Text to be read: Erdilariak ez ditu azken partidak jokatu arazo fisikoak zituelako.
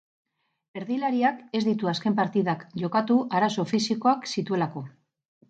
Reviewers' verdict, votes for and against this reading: accepted, 6, 0